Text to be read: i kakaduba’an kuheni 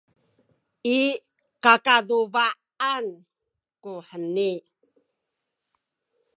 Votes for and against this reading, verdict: 2, 0, accepted